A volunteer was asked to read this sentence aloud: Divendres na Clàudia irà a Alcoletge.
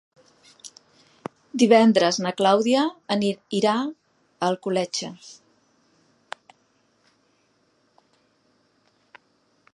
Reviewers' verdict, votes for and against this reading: rejected, 1, 2